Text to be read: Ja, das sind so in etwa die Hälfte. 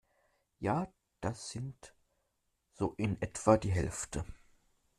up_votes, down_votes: 2, 0